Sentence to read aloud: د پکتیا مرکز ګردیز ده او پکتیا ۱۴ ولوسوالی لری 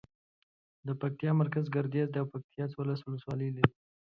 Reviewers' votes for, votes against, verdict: 0, 2, rejected